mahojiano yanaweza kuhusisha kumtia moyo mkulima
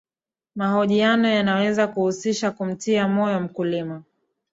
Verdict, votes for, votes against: accepted, 2, 0